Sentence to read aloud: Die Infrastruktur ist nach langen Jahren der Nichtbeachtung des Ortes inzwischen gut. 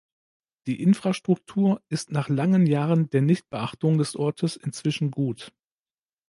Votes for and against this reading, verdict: 2, 0, accepted